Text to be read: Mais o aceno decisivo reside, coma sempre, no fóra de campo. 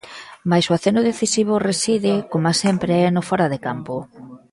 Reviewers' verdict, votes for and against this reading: accepted, 3, 0